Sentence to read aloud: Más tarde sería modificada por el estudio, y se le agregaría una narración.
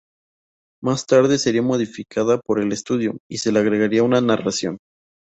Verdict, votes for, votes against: rejected, 0, 2